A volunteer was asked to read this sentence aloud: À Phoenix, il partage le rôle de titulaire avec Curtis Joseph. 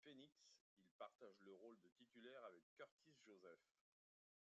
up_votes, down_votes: 0, 2